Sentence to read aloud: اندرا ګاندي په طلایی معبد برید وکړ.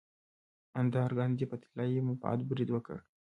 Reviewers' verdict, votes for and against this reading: accepted, 2, 0